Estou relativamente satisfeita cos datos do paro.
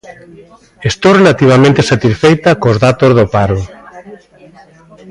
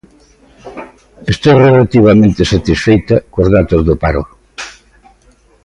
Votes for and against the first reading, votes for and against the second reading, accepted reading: 0, 2, 2, 0, second